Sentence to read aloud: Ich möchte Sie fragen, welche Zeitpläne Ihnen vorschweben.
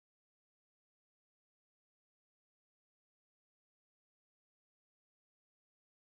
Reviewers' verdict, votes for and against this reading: rejected, 0, 2